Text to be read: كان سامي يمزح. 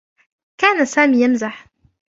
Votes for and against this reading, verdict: 2, 1, accepted